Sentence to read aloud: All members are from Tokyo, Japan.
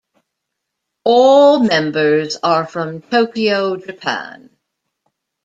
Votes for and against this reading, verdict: 2, 0, accepted